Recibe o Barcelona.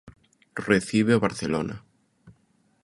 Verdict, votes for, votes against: accepted, 2, 0